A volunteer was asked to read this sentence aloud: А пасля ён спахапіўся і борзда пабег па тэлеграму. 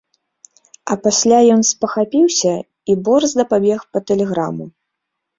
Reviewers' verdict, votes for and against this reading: accepted, 2, 0